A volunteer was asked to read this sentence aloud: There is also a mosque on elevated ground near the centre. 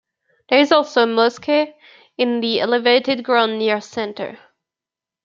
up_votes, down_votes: 0, 2